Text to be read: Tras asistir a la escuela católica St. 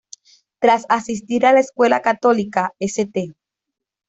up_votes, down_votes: 2, 0